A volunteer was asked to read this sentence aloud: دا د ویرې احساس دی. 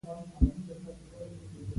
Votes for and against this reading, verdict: 0, 2, rejected